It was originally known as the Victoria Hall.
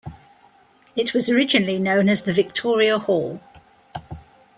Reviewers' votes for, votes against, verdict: 2, 0, accepted